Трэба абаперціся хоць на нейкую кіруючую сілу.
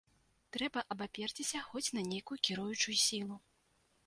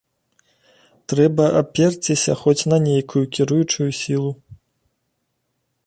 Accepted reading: first